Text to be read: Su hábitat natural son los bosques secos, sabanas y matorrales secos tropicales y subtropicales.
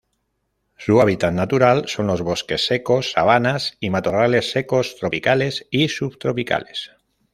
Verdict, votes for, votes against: accepted, 2, 0